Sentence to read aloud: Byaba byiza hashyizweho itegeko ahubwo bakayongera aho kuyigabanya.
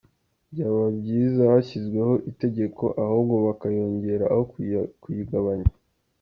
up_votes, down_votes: 1, 2